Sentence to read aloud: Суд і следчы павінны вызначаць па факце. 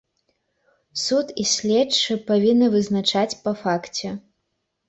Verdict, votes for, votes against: accepted, 2, 1